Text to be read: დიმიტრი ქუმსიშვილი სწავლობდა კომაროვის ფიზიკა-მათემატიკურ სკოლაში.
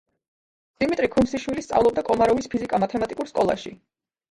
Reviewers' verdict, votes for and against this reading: rejected, 0, 2